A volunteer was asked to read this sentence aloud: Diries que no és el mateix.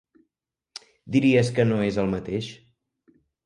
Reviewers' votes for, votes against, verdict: 1, 2, rejected